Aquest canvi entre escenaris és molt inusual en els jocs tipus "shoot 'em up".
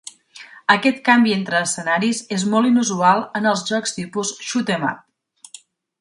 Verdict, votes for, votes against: accepted, 3, 0